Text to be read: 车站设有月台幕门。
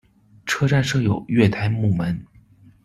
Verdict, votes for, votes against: accepted, 2, 0